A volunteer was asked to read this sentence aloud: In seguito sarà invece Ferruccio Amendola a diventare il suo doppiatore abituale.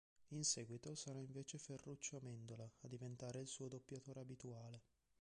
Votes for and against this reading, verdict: 0, 2, rejected